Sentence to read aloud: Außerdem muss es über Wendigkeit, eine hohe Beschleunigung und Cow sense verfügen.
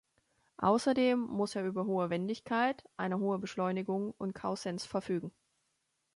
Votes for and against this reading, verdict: 0, 2, rejected